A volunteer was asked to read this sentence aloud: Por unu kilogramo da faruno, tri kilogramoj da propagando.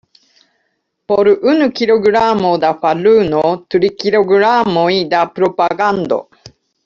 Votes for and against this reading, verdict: 2, 1, accepted